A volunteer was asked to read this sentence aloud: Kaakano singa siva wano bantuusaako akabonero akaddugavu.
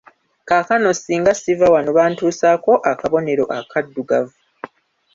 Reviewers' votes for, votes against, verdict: 1, 2, rejected